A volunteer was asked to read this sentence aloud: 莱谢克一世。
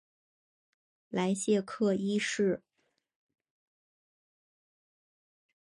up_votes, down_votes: 4, 0